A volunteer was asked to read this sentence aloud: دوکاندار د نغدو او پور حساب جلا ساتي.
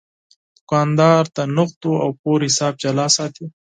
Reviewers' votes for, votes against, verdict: 4, 0, accepted